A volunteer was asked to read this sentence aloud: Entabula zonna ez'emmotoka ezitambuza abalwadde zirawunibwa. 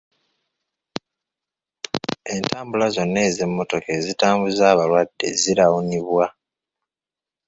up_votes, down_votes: 2, 0